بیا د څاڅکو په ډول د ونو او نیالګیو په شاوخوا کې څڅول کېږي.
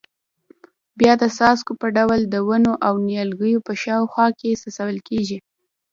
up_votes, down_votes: 0, 2